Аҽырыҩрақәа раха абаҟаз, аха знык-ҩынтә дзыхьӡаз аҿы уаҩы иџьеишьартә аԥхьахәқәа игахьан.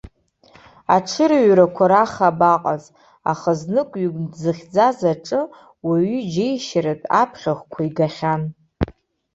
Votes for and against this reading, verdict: 3, 0, accepted